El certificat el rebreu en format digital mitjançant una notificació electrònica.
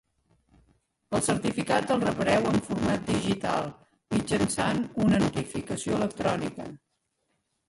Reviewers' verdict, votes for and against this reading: rejected, 1, 2